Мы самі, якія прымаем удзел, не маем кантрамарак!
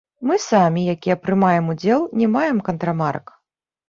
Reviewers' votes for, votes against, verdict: 1, 2, rejected